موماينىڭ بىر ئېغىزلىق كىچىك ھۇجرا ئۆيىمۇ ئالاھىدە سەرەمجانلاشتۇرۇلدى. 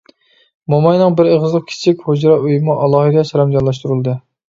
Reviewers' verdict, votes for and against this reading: accepted, 3, 0